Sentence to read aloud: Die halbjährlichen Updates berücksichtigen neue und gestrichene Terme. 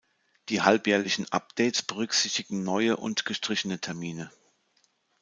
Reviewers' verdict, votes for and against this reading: rejected, 1, 2